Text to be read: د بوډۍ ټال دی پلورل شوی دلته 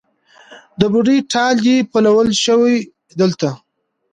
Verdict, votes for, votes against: rejected, 0, 2